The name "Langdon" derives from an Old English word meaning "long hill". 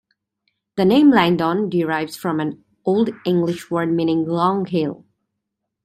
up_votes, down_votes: 3, 2